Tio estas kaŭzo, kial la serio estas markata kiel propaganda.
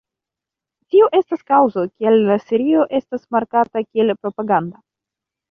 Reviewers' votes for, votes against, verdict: 2, 1, accepted